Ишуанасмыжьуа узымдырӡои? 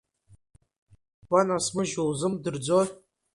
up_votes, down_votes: 2, 1